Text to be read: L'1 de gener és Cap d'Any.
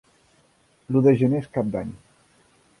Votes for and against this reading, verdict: 0, 2, rejected